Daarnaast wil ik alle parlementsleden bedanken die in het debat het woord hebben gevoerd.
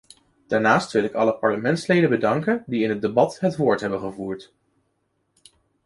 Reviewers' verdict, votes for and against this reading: accepted, 2, 0